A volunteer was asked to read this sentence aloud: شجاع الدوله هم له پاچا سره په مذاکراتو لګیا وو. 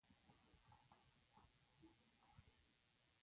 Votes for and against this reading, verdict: 0, 3, rejected